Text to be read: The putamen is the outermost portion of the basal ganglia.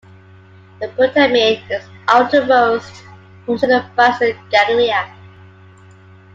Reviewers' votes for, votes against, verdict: 0, 2, rejected